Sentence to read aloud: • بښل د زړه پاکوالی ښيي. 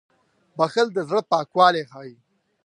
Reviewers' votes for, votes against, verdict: 4, 0, accepted